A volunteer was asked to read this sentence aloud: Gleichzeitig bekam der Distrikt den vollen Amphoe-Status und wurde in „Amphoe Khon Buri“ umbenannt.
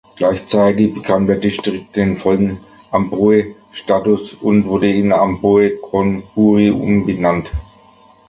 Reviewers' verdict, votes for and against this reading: accepted, 2, 1